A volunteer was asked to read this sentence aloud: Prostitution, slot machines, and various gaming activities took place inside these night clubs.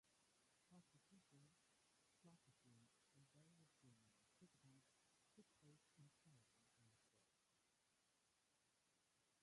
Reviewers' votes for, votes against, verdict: 0, 2, rejected